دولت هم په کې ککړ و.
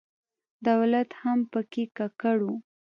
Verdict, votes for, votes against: accepted, 2, 0